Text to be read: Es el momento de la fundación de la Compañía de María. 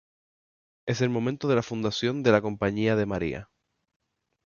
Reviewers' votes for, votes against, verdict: 2, 2, rejected